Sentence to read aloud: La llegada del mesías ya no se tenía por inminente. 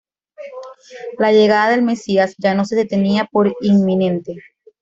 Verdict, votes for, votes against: accepted, 2, 1